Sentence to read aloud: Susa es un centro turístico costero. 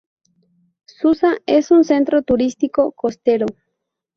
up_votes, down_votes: 2, 0